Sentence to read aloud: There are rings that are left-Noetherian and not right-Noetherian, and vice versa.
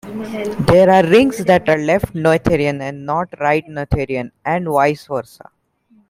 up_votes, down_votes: 2, 0